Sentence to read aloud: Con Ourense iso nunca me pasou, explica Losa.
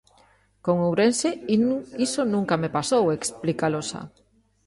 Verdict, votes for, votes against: rejected, 0, 2